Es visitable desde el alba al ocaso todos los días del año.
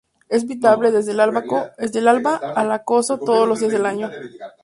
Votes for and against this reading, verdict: 0, 2, rejected